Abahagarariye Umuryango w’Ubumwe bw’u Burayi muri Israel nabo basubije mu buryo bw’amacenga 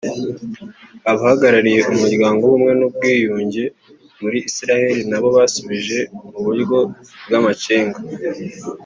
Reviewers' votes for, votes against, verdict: 1, 2, rejected